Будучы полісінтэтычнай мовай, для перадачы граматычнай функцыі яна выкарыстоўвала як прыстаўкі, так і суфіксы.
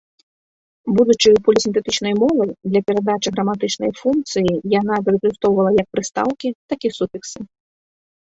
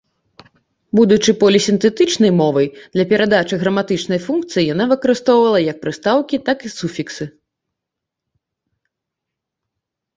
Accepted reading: second